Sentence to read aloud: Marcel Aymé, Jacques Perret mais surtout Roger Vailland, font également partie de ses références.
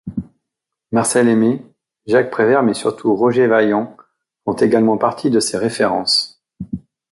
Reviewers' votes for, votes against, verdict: 0, 2, rejected